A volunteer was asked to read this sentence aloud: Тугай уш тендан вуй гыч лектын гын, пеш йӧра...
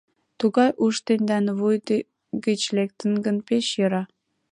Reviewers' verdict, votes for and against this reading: rejected, 1, 2